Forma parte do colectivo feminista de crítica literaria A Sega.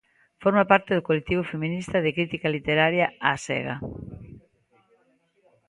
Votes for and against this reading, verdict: 2, 0, accepted